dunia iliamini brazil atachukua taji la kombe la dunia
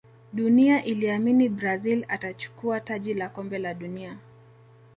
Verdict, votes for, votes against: accepted, 2, 1